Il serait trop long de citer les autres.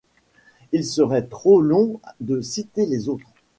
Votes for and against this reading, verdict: 2, 0, accepted